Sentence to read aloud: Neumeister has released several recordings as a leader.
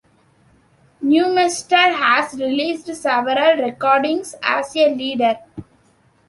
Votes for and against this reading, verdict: 1, 2, rejected